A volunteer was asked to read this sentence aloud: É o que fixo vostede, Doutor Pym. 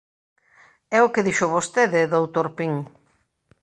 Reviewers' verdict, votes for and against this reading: rejected, 0, 2